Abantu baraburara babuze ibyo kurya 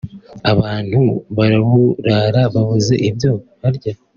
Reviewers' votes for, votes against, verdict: 1, 2, rejected